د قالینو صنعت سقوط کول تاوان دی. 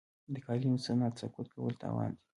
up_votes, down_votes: 2, 1